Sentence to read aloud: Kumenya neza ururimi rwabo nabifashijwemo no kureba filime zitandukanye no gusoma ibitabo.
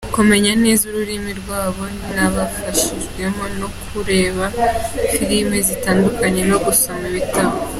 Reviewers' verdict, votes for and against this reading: accepted, 2, 0